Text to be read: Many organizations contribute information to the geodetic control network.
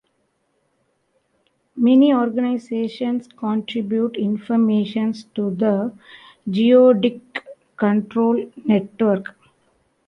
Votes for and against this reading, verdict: 1, 3, rejected